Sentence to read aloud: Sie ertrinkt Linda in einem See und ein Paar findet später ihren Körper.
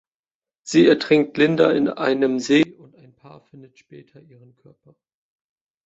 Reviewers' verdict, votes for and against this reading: rejected, 1, 2